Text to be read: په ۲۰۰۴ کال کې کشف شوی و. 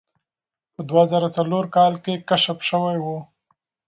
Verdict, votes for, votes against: rejected, 0, 2